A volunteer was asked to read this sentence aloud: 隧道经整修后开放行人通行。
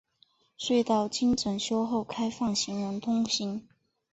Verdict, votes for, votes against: accepted, 2, 0